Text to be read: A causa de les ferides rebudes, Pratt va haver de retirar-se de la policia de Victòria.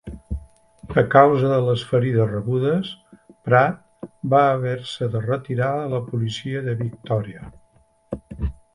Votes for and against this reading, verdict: 0, 3, rejected